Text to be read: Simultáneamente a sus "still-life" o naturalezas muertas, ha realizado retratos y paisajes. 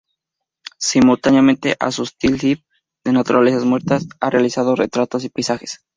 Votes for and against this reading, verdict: 2, 2, rejected